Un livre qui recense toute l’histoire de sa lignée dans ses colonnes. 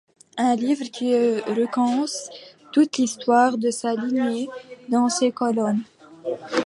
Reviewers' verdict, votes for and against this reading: rejected, 0, 3